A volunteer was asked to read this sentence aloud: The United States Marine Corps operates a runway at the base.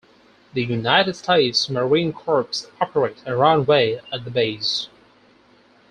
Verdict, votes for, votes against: rejected, 0, 4